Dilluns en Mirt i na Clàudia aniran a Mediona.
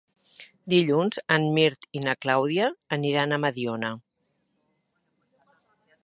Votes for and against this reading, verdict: 2, 0, accepted